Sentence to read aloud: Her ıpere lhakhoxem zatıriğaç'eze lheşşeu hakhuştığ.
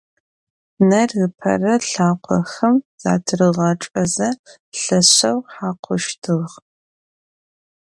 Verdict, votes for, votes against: rejected, 0, 2